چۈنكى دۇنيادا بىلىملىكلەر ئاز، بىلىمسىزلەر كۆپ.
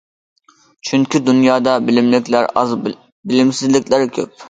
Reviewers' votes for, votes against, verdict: 0, 2, rejected